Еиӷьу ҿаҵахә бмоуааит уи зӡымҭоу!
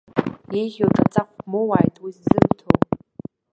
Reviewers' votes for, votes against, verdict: 0, 2, rejected